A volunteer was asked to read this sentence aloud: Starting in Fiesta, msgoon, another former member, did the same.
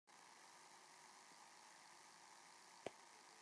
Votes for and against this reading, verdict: 0, 2, rejected